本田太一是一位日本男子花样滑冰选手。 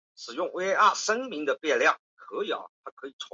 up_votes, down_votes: 1, 3